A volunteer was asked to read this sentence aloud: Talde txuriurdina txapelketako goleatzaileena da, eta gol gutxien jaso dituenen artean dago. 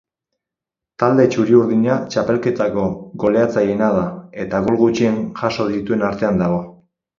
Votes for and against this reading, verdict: 2, 6, rejected